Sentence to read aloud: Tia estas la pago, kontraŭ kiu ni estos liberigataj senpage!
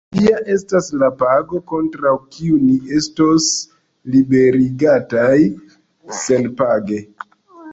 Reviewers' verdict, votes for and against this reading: rejected, 0, 2